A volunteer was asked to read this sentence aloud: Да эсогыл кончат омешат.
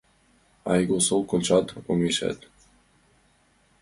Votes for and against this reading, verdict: 2, 0, accepted